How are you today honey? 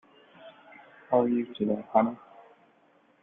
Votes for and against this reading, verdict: 1, 2, rejected